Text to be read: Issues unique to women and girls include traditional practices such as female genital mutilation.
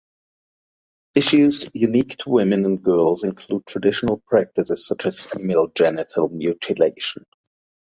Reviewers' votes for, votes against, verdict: 2, 0, accepted